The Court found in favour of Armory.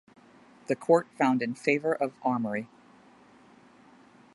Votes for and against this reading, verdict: 2, 0, accepted